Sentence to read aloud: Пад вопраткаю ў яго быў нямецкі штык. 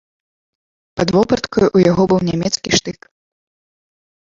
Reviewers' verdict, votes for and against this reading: accepted, 2, 0